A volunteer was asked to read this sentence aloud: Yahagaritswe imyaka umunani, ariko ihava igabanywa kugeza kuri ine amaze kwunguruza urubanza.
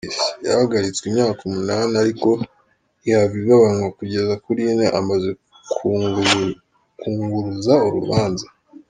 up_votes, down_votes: 0, 3